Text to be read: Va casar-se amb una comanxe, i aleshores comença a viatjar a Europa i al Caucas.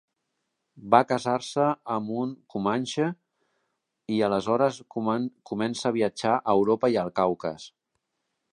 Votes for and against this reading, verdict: 0, 2, rejected